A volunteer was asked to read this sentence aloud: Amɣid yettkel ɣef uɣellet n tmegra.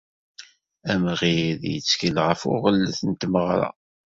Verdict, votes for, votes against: rejected, 1, 2